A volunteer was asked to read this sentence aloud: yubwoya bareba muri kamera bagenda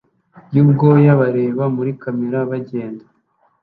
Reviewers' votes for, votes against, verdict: 2, 0, accepted